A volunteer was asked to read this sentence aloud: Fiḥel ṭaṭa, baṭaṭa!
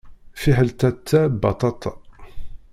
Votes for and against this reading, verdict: 0, 2, rejected